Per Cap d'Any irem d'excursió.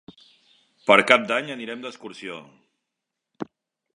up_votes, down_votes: 1, 2